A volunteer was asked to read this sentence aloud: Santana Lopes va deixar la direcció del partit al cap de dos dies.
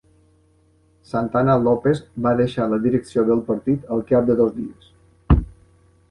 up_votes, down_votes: 2, 1